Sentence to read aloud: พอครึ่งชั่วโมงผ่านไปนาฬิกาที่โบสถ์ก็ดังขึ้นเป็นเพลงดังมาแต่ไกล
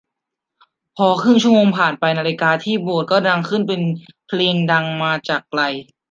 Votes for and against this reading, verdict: 0, 2, rejected